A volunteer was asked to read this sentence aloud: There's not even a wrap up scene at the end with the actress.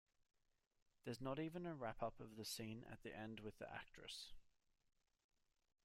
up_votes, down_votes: 1, 2